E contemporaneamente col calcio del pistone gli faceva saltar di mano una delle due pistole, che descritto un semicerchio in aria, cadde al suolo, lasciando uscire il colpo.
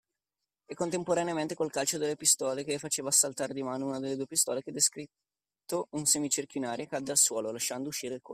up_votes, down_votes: 1, 2